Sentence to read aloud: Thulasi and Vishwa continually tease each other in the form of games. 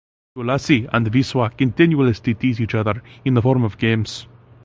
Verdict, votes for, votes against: rejected, 0, 2